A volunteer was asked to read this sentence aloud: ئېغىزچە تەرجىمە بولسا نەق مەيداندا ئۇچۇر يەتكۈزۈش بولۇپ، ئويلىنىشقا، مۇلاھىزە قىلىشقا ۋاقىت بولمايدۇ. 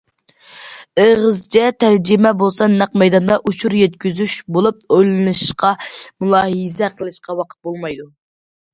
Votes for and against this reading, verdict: 2, 0, accepted